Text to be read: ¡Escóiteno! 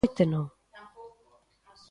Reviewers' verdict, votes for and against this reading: rejected, 0, 2